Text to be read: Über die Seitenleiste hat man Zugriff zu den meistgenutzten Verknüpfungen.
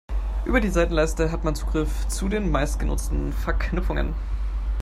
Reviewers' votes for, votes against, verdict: 3, 0, accepted